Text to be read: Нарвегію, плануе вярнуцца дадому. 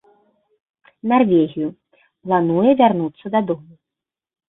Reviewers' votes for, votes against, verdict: 2, 1, accepted